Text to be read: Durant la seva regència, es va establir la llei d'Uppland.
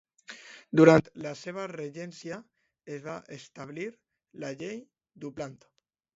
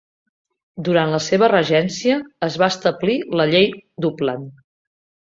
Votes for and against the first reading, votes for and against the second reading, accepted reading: 1, 2, 3, 0, second